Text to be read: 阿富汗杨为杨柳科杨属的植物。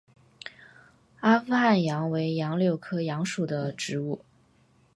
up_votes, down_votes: 2, 0